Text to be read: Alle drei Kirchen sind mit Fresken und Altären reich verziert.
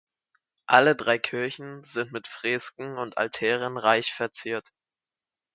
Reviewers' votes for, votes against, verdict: 4, 2, accepted